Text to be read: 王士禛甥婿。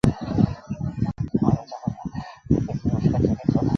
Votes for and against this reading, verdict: 0, 4, rejected